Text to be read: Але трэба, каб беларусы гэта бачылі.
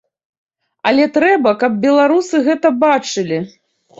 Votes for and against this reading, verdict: 2, 0, accepted